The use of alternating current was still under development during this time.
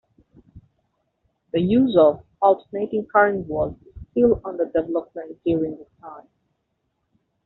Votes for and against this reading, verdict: 1, 2, rejected